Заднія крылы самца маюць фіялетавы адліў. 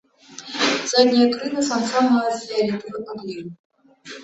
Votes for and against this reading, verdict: 2, 0, accepted